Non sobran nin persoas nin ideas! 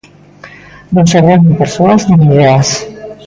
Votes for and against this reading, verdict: 0, 2, rejected